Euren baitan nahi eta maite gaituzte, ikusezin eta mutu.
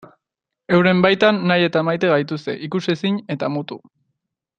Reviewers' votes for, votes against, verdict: 2, 0, accepted